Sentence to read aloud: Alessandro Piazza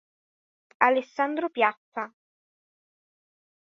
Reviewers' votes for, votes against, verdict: 2, 0, accepted